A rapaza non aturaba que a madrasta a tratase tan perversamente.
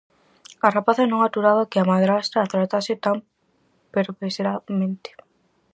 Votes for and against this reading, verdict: 0, 4, rejected